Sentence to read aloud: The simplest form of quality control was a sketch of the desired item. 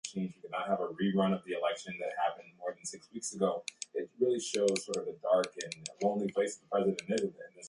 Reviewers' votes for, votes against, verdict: 1, 2, rejected